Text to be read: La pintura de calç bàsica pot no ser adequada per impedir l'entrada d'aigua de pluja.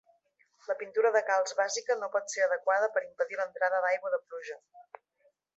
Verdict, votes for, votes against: rejected, 1, 2